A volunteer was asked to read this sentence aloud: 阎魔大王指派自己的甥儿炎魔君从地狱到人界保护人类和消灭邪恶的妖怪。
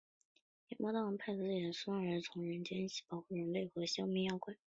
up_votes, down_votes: 0, 3